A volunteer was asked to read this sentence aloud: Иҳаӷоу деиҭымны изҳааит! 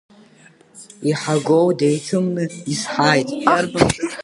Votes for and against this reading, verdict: 0, 3, rejected